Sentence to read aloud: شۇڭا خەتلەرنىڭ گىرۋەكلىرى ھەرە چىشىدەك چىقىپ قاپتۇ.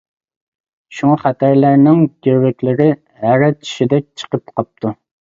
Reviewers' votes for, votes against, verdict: 0, 2, rejected